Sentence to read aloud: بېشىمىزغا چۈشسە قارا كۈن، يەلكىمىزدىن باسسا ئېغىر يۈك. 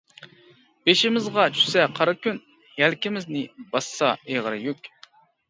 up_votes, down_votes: 1, 2